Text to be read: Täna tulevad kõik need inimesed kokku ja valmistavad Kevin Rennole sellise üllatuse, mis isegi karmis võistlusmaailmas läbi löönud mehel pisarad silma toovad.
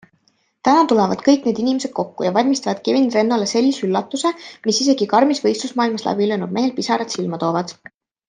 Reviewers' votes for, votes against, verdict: 2, 0, accepted